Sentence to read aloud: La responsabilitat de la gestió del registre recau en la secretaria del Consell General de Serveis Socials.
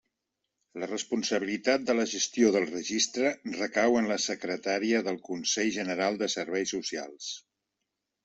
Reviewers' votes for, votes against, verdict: 1, 2, rejected